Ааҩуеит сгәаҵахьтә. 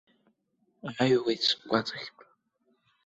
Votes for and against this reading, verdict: 2, 0, accepted